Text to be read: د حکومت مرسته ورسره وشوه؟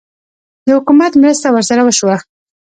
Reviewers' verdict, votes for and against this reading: rejected, 1, 2